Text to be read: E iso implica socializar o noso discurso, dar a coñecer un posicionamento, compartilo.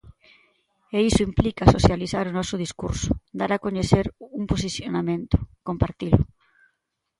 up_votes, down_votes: 2, 0